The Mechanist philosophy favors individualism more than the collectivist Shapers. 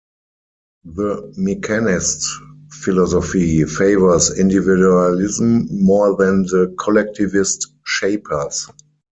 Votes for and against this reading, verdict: 2, 4, rejected